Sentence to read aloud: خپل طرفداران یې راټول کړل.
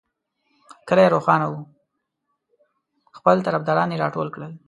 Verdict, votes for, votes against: rejected, 1, 2